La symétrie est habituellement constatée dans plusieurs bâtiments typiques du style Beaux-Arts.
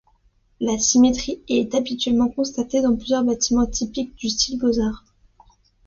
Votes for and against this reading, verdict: 2, 0, accepted